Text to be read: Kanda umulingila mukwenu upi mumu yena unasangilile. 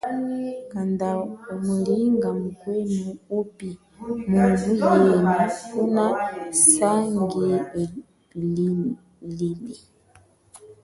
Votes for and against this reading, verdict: 1, 3, rejected